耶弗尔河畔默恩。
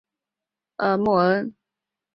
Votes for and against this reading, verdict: 1, 3, rejected